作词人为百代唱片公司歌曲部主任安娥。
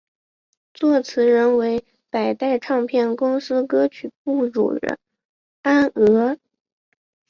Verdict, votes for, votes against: accepted, 3, 0